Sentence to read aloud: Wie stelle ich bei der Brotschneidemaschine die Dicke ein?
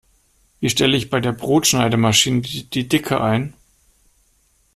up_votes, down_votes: 0, 2